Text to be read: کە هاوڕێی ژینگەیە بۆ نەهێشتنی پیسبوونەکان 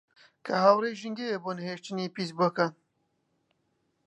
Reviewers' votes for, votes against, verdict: 1, 2, rejected